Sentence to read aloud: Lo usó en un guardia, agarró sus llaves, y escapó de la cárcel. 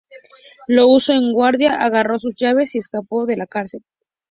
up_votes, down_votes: 2, 2